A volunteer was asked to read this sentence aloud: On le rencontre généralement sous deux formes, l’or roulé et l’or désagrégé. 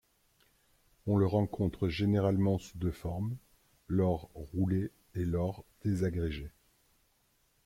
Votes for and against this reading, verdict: 1, 2, rejected